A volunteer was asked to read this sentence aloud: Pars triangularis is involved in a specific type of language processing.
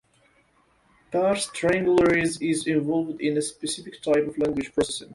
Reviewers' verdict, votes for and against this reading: rejected, 1, 2